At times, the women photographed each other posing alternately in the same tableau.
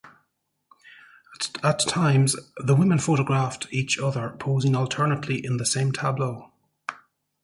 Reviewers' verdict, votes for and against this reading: accepted, 2, 0